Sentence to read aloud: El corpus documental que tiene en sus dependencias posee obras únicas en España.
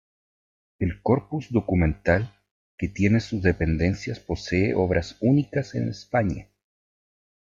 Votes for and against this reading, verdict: 0, 2, rejected